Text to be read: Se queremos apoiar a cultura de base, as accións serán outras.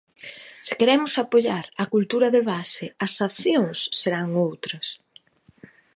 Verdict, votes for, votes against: accepted, 18, 1